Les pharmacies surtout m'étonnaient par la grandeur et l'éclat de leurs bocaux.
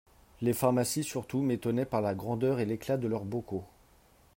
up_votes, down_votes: 3, 0